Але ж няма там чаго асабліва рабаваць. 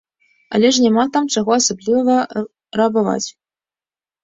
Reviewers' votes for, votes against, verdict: 2, 0, accepted